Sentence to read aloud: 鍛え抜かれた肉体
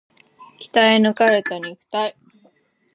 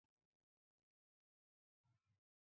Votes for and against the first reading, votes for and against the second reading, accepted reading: 3, 1, 1, 2, first